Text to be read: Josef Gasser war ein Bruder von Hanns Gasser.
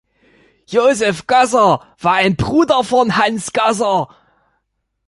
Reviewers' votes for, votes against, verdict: 2, 0, accepted